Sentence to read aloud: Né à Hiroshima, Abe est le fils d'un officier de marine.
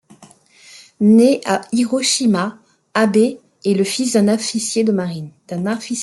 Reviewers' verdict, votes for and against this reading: rejected, 1, 2